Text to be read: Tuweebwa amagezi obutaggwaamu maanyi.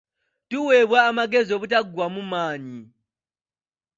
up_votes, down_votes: 2, 0